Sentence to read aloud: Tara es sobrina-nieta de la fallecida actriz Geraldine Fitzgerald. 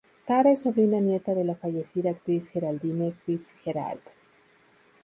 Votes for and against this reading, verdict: 4, 0, accepted